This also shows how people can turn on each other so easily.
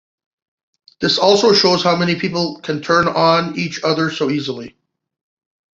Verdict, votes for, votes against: rejected, 0, 2